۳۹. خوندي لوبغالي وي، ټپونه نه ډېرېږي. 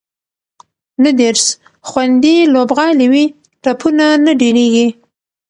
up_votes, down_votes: 0, 2